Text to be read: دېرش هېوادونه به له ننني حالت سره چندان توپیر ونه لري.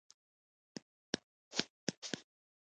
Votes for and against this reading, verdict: 1, 2, rejected